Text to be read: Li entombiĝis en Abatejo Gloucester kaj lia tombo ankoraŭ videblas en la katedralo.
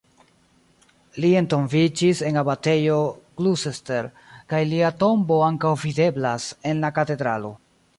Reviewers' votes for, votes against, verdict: 1, 2, rejected